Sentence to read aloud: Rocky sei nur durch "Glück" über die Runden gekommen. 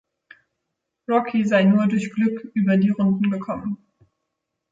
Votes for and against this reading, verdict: 2, 0, accepted